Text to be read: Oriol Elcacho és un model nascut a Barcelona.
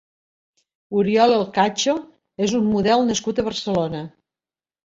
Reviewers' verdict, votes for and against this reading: accepted, 2, 0